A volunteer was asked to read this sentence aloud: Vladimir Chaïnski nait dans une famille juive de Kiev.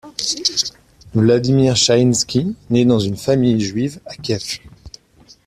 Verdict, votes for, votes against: rejected, 1, 2